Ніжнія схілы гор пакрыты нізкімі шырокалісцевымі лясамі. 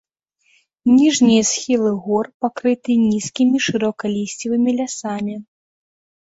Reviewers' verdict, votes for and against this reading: accepted, 2, 0